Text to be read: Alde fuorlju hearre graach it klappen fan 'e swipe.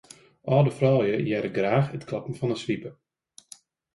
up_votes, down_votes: 0, 2